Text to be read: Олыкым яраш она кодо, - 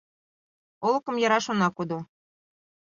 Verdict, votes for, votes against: accepted, 2, 0